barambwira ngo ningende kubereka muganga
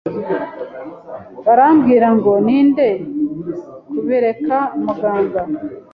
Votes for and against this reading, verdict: 1, 2, rejected